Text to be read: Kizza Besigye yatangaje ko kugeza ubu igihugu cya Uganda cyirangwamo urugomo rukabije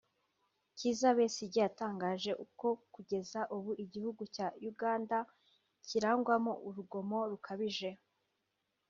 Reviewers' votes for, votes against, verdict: 0, 2, rejected